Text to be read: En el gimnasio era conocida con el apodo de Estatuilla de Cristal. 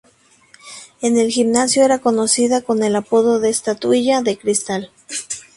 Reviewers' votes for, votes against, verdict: 0, 2, rejected